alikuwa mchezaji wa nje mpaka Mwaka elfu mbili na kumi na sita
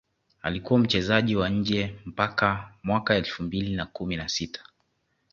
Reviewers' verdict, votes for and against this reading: accepted, 2, 0